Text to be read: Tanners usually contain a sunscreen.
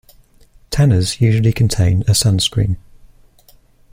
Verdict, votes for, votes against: accepted, 2, 0